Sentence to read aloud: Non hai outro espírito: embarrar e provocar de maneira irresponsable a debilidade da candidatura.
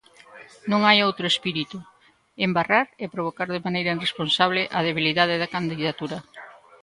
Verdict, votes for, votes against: rejected, 1, 2